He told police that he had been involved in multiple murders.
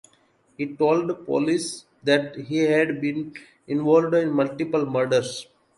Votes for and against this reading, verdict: 2, 0, accepted